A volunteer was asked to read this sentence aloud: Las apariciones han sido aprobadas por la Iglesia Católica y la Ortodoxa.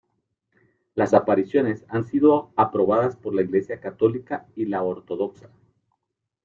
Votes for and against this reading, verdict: 1, 2, rejected